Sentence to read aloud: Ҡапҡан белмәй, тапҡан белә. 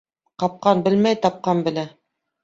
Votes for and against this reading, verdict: 2, 0, accepted